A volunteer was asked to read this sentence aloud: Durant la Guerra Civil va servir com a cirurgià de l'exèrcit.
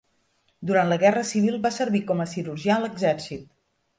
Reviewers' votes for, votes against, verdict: 0, 2, rejected